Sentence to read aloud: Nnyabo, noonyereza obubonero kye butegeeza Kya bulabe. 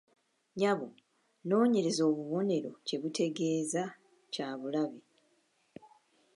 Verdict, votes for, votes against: accepted, 2, 0